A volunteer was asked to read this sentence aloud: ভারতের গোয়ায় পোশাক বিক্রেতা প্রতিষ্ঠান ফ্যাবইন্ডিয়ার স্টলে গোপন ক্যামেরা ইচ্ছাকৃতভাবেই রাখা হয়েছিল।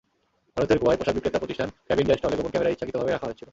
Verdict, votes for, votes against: rejected, 0, 2